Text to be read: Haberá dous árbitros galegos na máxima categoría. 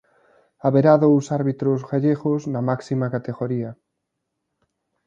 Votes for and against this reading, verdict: 0, 2, rejected